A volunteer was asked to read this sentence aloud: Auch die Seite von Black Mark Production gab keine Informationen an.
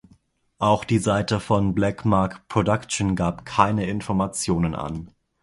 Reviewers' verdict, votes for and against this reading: accepted, 2, 0